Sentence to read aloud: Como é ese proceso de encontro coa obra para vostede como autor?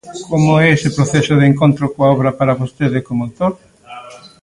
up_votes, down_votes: 0, 2